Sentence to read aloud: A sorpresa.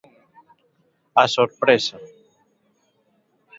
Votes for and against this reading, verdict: 2, 0, accepted